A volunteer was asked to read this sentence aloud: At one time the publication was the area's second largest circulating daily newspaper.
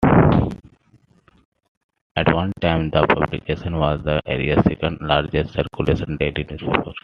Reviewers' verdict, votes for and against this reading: accepted, 2, 0